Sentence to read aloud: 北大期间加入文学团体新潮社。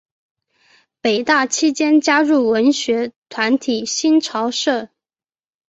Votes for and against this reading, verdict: 2, 0, accepted